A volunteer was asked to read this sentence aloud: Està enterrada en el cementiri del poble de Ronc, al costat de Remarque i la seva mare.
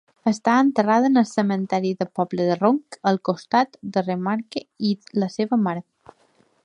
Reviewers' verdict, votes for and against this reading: accepted, 2, 1